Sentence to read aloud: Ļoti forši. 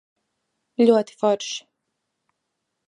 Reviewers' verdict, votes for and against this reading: accepted, 2, 0